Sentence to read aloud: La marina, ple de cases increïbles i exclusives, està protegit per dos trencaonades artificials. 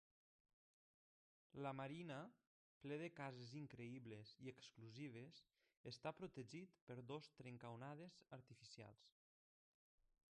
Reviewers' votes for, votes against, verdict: 2, 1, accepted